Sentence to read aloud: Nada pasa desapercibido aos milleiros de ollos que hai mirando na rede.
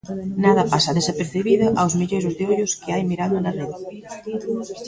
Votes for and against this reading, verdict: 1, 2, rejected